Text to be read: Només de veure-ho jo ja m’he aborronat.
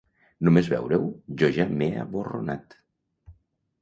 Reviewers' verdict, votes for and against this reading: rejected, 1, 2